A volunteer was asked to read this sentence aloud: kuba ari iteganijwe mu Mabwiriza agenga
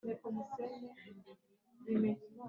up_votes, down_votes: 0, 2